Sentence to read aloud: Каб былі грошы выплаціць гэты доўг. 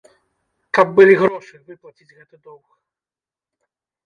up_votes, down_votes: 1, 2